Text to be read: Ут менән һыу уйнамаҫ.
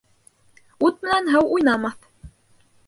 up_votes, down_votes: 3, 2